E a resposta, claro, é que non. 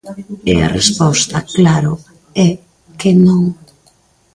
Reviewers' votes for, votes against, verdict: 2, 0, accepted